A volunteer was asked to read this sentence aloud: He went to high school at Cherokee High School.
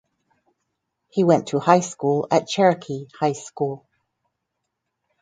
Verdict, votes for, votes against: rejected, 2, 2